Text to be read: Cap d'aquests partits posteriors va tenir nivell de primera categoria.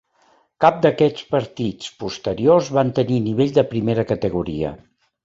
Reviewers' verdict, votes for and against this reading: rejected, 0, 2